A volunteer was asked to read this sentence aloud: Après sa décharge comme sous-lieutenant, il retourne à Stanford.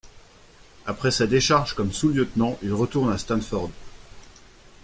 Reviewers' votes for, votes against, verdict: 2, 0, accepted